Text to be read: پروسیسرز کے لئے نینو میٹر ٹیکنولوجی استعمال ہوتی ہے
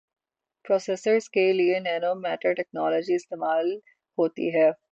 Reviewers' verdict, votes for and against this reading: rejected, 0, 6